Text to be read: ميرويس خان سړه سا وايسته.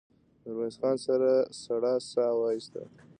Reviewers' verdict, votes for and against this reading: accepted, 2, 0